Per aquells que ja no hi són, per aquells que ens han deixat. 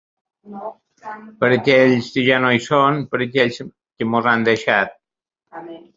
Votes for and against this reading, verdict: 0, 2, rejected